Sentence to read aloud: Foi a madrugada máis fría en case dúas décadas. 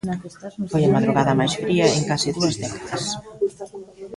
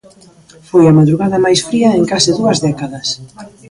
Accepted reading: second